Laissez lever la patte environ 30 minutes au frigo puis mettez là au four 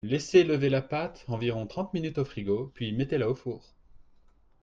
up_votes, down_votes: 0, 2